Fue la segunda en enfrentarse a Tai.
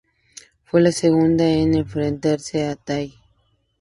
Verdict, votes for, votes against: accepted, 4, 0